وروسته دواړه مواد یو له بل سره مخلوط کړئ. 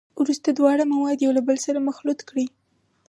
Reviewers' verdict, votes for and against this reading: accepted, 4, 0